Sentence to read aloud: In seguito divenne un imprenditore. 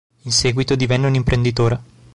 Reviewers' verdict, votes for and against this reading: accepted, 2, 0